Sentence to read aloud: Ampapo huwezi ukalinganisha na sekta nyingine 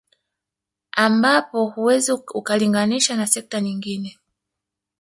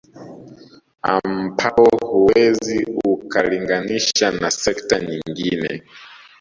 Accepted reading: second